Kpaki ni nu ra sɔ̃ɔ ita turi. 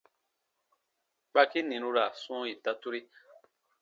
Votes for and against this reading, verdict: 2, 0, accepted